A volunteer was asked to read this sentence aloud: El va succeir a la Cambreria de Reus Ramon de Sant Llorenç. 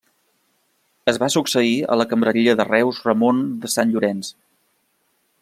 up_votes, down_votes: 1, 2